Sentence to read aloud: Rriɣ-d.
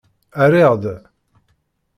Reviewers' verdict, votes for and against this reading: accepted, 2, 0